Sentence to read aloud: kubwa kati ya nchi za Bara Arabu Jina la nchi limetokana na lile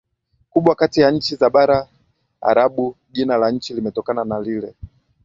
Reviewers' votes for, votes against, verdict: 0, 2, rejected